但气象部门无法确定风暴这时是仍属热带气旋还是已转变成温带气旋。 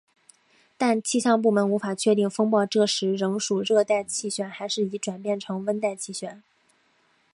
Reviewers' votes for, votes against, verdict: 1, 3, rejected